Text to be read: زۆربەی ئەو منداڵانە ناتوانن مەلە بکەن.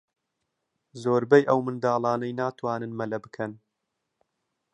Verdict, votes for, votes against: rejected, 0, 2